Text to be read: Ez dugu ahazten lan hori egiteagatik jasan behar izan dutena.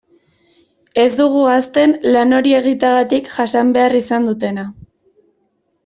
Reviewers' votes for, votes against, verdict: 2, 0, accepted